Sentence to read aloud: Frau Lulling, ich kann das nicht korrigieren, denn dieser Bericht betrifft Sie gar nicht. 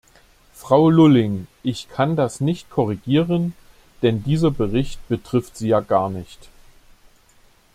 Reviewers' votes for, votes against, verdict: 0, 2, rejected